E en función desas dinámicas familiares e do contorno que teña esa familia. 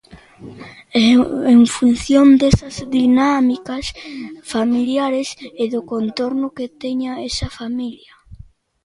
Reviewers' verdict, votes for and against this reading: rejected, 0, 2